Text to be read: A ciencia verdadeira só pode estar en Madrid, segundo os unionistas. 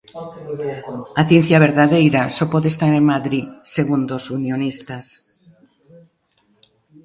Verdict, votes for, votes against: rejected, 1, 2